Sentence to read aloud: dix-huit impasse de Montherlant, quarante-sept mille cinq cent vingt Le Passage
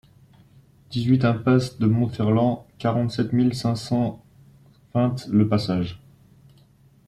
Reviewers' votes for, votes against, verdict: 3, 2, accepted